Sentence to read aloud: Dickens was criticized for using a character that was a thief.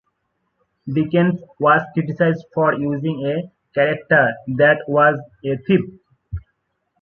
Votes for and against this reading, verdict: 2, 0, accepted